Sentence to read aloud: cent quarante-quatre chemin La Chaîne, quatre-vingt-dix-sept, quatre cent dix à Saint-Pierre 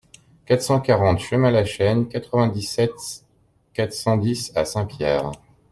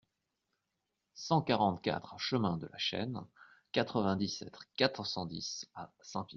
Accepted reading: second